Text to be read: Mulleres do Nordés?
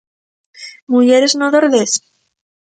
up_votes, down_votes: 1, 2